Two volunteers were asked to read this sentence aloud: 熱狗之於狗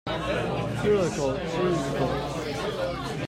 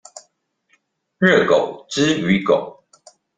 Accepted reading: second